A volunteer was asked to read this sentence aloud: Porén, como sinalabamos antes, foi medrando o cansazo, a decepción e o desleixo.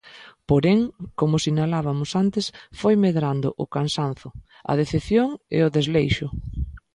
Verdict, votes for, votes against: rejected, 1, 2